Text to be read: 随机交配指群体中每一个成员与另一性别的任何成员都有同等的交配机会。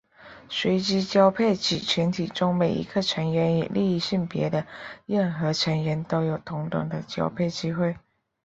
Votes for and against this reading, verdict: 3, 0, accepted